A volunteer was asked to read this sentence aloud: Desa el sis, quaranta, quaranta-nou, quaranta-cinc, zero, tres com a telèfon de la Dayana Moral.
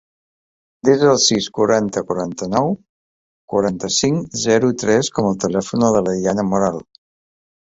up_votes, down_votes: 2, 0